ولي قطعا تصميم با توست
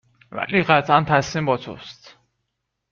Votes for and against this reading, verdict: 2, 0, accepted